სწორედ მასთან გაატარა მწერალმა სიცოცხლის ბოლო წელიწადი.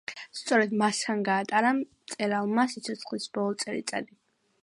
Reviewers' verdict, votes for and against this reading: accepted, 2, 1